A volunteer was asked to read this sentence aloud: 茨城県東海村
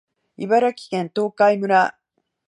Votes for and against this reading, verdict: 3, 0, accepted